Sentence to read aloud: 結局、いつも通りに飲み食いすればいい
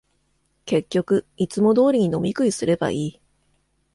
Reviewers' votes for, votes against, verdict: 2, 0, accepted